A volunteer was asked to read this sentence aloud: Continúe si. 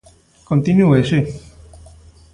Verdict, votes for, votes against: accepted, 2, 0